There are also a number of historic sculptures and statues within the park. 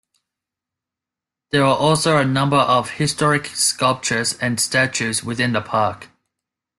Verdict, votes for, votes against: accepted, 2, 0